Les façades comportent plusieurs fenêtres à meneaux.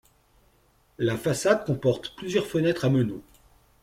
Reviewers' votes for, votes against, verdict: 1, 2, rejected